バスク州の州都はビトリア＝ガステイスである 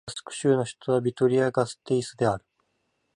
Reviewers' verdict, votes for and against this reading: rejected, 2, 4